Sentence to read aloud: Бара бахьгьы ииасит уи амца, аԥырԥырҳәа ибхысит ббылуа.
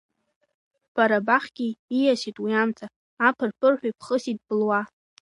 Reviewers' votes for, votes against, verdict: 2, 1, accepted